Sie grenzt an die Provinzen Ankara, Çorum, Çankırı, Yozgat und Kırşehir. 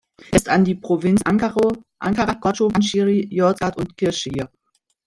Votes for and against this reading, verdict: 0, 2, rejected